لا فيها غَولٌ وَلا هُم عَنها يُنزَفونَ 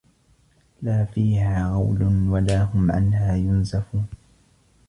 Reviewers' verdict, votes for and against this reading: accepted, 2, 1